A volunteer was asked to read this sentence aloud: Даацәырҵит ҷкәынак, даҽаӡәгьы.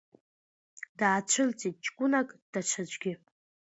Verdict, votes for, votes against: accepted, 2, 0